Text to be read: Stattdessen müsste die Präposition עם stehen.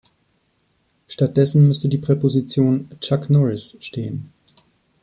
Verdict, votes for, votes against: rejected, 0, 2